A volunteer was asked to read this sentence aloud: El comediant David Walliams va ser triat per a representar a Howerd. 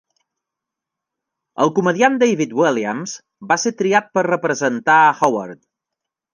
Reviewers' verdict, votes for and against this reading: rejected, 1, 2